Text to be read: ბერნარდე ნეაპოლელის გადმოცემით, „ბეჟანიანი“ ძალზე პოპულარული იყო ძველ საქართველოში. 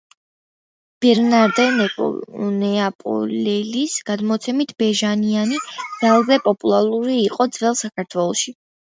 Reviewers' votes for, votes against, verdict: 0, 2, rejected